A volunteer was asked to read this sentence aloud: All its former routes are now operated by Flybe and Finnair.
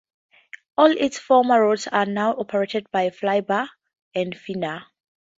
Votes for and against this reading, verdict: 0, 2, rejected